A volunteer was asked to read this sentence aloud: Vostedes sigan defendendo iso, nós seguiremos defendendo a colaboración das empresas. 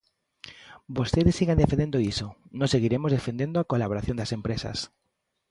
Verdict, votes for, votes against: accepted, 2, 0